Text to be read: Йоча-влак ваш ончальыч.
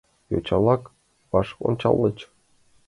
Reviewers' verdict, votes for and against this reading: accepted, 2, 1